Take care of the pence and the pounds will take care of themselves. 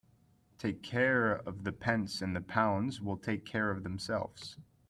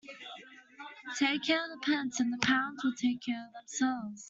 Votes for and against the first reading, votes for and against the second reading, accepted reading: 3, 0, 0, 2, first